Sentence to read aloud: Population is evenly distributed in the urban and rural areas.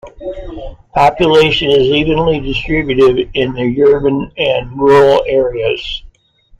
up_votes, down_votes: 2, 0